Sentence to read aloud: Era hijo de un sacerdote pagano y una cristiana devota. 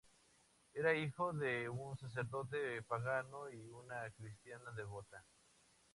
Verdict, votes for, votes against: accepted, 2, 0